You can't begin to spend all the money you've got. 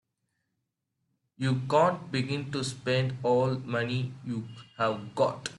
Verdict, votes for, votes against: rejected, 2, 4